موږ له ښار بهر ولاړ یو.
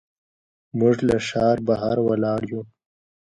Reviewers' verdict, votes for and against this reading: accepted, 2, 0